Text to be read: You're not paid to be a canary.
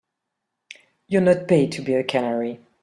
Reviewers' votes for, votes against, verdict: 3, 1, accepted